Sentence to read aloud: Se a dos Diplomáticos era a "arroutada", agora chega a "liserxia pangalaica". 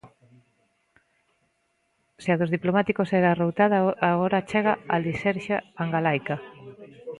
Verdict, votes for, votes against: rejected, 0, 2